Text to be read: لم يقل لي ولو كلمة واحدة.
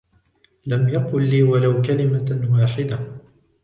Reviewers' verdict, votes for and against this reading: rejected, 1, 2